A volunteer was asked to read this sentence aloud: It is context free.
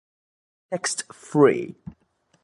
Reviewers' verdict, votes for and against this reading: rejected, 1, 3